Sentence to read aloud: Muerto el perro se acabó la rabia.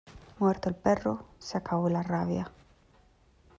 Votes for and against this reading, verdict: 2, 0, accepted